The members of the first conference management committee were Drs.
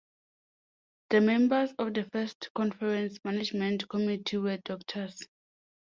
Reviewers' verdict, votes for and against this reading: accepted, 2, 0